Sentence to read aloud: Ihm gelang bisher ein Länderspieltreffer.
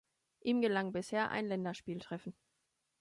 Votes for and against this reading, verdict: 1, 2, rejected